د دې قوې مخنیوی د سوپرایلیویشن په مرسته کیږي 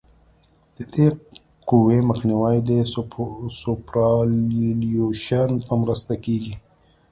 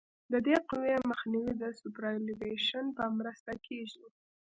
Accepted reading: second